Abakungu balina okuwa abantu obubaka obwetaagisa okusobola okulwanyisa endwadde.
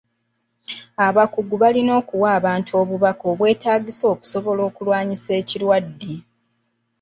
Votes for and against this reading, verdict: 1, 2, rejected